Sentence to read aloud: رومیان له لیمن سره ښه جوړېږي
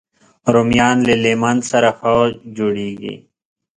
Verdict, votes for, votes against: accepted, 2, 0